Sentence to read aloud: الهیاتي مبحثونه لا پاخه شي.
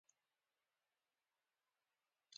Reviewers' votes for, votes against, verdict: 0, 2, rejected